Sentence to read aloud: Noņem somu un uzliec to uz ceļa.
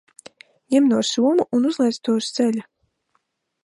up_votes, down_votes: 2, 3